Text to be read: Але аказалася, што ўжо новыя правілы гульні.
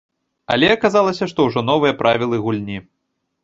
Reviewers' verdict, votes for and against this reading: accepted, 2, 0